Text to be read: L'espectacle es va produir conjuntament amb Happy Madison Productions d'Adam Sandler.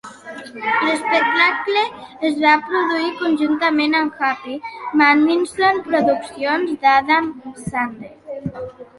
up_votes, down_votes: 2, 1